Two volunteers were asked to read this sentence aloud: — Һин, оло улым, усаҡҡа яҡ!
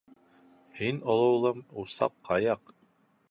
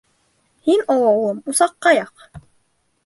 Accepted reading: first